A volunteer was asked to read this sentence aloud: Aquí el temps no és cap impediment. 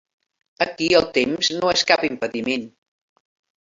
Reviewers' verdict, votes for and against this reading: accepted, 3, 0